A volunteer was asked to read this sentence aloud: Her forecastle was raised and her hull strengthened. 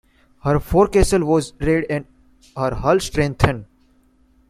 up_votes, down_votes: 0, 2